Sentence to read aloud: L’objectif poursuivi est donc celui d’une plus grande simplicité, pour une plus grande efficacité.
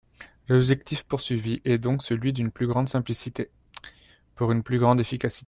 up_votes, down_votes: 0, 2